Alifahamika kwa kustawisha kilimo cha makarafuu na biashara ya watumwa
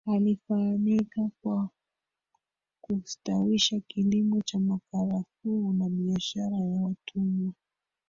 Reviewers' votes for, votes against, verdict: 0, 2, rejected